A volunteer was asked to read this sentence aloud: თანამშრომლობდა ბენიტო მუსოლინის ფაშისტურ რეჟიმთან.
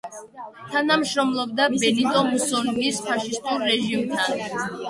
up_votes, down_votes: 1, 2